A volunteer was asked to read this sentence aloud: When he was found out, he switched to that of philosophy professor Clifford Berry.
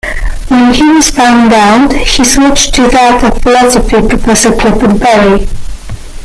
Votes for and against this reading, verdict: 2, 1, accepted